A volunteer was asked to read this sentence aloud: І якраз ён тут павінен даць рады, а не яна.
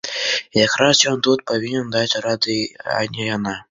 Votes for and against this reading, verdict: 2, 0, accepted